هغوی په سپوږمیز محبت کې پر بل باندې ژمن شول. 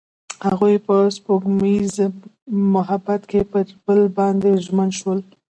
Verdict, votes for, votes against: accepted, 2, 1